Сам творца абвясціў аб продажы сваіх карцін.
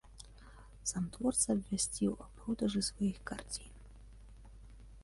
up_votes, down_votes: 2, 1